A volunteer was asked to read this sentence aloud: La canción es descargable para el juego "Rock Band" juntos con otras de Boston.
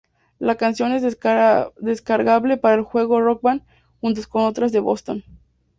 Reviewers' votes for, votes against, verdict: 0, 2, rejected